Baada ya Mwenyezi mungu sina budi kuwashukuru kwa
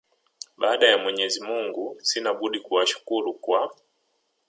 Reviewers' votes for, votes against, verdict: 1, 2, rejected